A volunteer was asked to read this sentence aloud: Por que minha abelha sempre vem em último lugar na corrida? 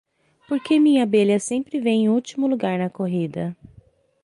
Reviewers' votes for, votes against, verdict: 3, 0, accepted